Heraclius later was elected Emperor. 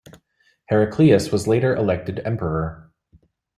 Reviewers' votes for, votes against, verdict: 0, 2, rejected